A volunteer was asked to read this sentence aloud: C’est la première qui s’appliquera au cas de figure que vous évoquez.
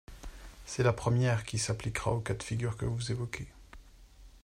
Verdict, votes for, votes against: accepted, 2, 0